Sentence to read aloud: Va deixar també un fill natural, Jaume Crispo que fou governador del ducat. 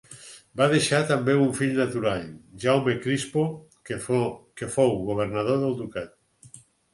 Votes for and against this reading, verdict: 2, 4, rejected